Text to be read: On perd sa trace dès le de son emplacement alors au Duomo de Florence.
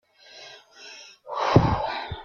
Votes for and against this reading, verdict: 1, 2, rejected